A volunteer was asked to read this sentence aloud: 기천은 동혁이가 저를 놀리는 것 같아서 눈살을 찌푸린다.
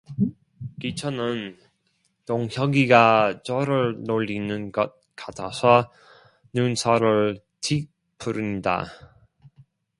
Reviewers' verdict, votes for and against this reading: rejected, 0, 2